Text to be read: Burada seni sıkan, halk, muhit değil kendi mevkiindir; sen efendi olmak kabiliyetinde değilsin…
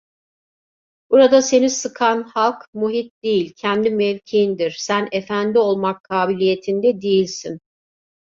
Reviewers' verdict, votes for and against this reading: accepted, 2, 1